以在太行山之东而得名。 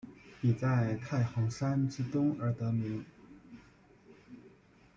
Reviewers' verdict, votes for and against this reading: rejected, 0, 2